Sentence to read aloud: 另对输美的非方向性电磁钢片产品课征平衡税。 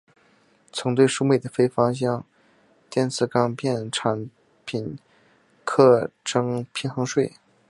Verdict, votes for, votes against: rejected, 0, 2